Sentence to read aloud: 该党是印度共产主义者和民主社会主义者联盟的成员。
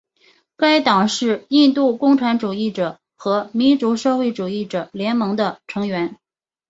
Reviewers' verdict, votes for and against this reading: accepted, 6, 0